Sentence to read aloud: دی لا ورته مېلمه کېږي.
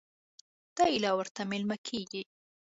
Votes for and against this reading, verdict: 2, 0, accepted